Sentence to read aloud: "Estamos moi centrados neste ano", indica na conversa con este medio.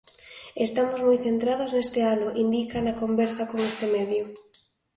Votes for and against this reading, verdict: 2, 0, accepted